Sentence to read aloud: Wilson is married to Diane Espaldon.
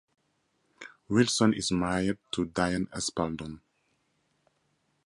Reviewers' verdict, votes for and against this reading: rejected, 2, 2